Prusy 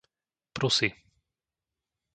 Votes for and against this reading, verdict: 2, 0, accepted